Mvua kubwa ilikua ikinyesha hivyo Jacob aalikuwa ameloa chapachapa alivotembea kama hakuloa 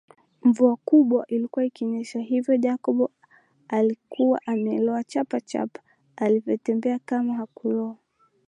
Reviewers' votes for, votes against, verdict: 3, 0, accepted